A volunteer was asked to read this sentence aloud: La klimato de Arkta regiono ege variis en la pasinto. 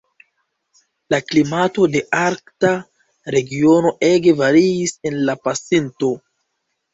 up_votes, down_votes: 2, 0